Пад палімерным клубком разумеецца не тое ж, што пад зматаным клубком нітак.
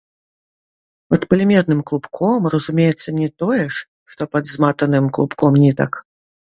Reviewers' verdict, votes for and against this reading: rejected, 1, 2